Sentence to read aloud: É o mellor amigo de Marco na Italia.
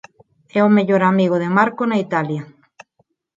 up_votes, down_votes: 4, 0